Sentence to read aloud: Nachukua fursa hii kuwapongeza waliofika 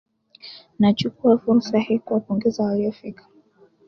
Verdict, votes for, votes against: accepted, 2, 1